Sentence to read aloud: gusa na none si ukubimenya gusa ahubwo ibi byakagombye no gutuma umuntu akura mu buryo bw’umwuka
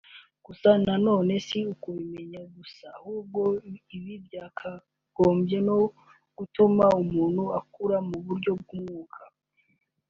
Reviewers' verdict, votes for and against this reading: accepted, 3, 0